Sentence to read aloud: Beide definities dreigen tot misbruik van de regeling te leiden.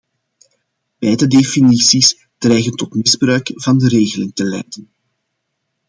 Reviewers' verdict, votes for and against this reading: rejected, 1, 2